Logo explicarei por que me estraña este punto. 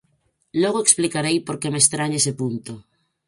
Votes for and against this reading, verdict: 0, 4, rejected